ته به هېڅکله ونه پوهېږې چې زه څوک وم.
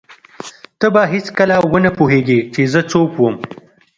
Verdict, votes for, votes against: accepted, 2, 1